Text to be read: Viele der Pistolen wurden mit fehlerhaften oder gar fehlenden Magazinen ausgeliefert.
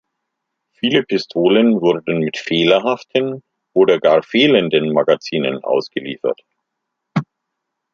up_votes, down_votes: 0, 2